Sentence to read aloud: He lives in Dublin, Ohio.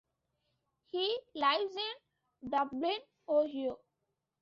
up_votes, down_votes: 0, 2